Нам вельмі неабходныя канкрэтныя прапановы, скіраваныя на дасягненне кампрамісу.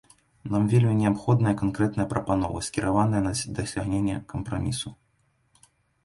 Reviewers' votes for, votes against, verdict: 0, 2, rejected